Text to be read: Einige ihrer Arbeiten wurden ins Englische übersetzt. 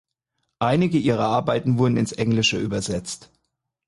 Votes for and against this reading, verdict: 4, 0, accepted